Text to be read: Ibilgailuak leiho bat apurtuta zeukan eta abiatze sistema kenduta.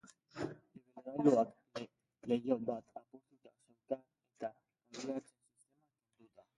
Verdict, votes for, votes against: rejected, 0, 2